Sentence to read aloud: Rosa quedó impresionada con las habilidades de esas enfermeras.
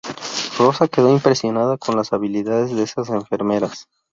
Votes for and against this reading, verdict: 2, 2, rejected